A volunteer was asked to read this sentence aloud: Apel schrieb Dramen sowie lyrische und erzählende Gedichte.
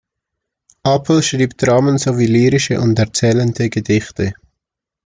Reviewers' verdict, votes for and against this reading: accepted, 2, 0